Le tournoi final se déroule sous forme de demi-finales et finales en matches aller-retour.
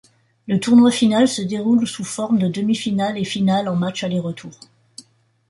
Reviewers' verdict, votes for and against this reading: accepted, 2, 0